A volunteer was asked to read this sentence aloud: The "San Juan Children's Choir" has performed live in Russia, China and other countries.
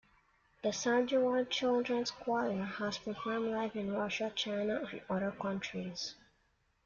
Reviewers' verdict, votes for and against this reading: rejected, 1, 2